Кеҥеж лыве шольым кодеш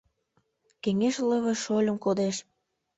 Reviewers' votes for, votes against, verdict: 2, 0, accepted